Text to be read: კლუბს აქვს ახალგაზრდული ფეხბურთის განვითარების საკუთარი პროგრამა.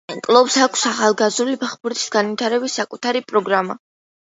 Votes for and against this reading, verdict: 2, 0, accepted